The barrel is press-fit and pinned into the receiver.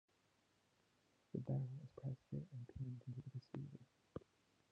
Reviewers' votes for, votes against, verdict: 1, 2, rejected